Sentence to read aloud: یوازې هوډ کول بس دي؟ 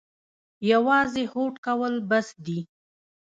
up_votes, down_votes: 1, 2